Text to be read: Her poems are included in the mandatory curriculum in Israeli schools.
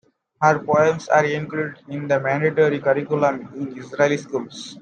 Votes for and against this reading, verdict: 2, 1, accepted